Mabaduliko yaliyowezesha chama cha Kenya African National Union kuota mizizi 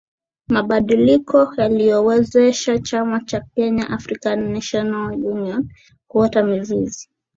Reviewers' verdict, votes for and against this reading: accepted, 2, 0